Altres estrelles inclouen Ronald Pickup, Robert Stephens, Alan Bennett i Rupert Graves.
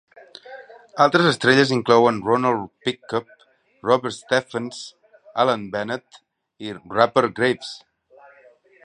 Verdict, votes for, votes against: rejected, 1, 2